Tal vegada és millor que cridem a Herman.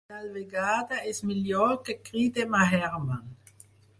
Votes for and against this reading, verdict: 2, 4, rejected